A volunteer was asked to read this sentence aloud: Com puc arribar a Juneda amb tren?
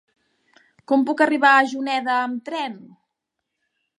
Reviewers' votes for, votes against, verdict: 4, 0, accepted